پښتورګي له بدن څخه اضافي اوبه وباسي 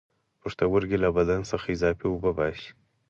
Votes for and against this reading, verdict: 4, 0, accepted